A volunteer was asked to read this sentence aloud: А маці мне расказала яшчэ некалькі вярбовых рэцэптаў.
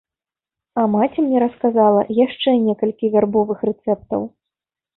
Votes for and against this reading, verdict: 2, 0, accepted